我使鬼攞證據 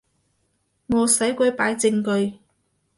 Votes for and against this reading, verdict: 1, 2, rejected